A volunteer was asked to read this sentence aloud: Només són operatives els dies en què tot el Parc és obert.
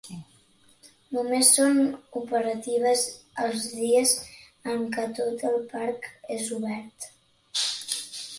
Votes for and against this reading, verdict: 2, 0, accepted